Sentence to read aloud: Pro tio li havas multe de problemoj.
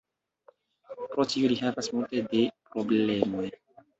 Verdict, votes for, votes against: accepted, 2, 1